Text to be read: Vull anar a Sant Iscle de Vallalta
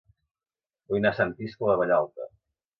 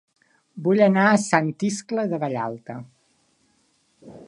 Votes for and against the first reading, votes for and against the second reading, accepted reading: 0, 2, 3, 0, second